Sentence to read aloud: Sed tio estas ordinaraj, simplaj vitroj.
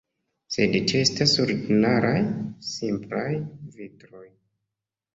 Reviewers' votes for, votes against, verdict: 1, 2, rejected